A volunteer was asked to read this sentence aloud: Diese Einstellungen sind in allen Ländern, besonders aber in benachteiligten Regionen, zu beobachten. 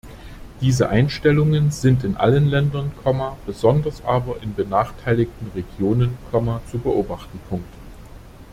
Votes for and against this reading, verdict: 0, 2, rejected